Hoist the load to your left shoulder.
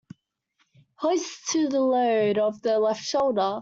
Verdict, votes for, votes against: rejected, 0, 2